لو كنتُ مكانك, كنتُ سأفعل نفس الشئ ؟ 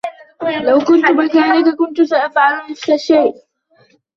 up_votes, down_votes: 0, 2